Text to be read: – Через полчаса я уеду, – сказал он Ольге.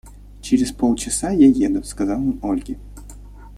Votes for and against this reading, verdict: 0, 2, rejected